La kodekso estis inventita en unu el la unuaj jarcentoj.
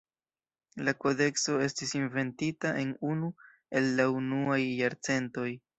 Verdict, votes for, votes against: rejected, 1, 2